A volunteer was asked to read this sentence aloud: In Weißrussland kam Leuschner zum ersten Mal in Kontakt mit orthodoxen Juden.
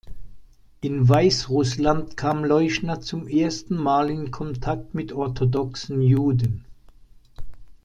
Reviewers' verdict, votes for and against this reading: accepted, 2, 0